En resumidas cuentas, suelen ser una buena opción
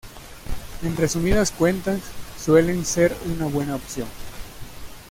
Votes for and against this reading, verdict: 2, 0, accepted